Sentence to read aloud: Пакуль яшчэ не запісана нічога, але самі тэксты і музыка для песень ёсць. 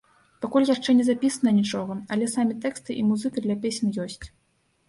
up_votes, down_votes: 0, 2